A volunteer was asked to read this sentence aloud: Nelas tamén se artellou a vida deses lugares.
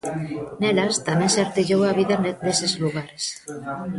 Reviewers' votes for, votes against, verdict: 0, 2, rejected